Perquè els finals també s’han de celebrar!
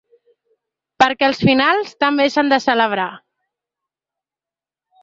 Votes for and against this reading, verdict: 3, 0, accepted